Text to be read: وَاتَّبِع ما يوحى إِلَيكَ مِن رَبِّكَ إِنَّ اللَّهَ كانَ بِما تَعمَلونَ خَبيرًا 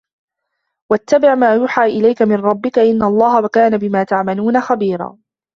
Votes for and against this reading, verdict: 2, 1, accepted